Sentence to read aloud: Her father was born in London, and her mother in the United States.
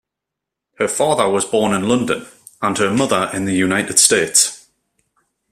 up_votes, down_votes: 2, 0